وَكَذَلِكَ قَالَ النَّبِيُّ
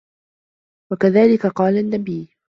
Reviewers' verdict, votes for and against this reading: accepted, 2, 0